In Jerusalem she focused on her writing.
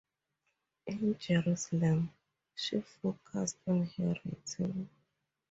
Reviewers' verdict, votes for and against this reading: accepted, 4, 2